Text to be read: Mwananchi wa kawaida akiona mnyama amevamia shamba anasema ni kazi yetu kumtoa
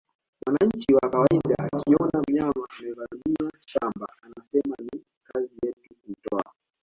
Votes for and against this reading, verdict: 0, 2, rejected